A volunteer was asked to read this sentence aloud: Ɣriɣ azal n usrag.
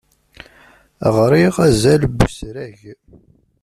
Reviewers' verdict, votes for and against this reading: accepted, 2, 1